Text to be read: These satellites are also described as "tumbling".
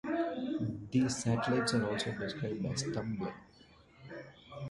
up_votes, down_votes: 2, 1